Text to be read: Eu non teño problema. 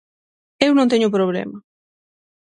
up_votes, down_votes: 6, 0